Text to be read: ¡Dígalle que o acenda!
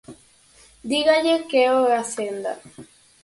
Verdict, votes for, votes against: accepted, 4, 2